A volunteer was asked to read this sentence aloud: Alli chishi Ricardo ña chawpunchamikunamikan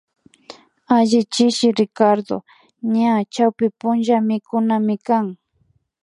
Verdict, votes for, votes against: accepted, 2, 0